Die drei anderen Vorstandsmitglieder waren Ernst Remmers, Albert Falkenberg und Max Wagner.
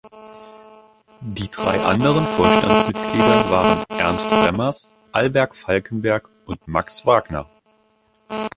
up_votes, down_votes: 0, 2